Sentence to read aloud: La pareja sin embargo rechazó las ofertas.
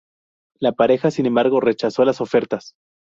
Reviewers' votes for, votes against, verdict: 2, 0, accepted